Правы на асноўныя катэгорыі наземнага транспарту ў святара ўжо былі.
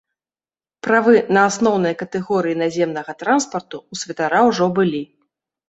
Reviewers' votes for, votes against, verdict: 1, 2, rejected